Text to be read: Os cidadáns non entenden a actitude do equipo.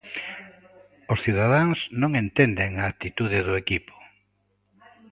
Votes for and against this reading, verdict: 2, 0, accepted